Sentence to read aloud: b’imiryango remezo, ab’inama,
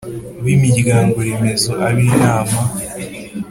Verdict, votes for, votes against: accepted, 3, 0